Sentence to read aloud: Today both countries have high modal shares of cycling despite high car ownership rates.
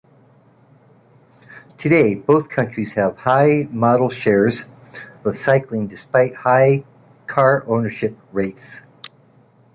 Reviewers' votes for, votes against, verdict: 0, 2, rejected